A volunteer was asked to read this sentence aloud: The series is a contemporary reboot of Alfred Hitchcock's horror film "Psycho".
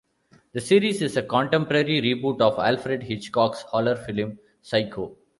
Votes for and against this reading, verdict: 2, 0, accepted